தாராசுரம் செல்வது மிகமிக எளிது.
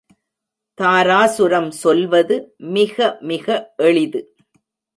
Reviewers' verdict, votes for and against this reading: rejected, 1, 2